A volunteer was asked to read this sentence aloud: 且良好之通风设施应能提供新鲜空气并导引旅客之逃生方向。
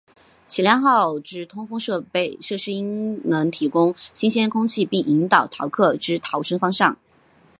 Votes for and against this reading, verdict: 2, 3, rejected